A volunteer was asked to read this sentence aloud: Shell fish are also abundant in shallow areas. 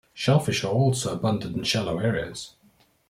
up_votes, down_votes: 2, 0